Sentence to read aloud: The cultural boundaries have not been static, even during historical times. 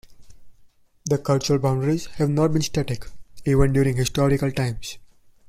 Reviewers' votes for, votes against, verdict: 2, 0, accepted